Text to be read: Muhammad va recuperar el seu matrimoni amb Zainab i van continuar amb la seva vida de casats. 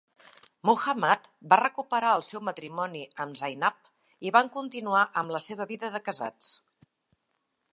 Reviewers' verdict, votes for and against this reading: accepted, 3, 0